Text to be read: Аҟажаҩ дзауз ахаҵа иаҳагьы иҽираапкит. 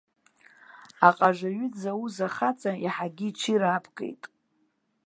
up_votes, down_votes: 1, 2